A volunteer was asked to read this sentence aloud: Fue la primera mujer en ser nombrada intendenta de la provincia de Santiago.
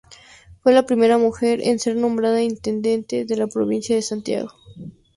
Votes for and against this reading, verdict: 0, 2, rejected